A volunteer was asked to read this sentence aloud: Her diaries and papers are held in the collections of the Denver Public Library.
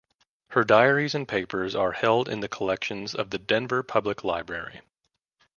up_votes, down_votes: 2, 0